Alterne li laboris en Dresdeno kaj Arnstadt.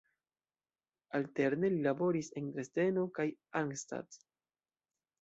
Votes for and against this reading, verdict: 1, 2, rejected